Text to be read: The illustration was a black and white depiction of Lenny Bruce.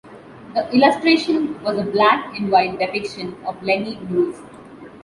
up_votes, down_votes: 2, 0